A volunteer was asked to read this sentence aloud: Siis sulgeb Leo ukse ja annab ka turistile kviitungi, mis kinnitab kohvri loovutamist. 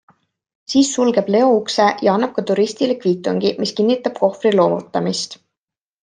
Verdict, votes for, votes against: accepted, 2, 0